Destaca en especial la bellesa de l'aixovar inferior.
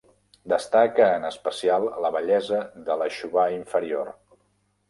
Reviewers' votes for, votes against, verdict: 2, 0, accepted